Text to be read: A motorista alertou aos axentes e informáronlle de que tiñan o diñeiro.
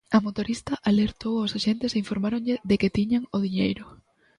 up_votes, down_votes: 2, 0